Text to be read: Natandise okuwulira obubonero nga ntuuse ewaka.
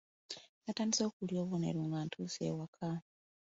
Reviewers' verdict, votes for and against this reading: accepted, 2, 0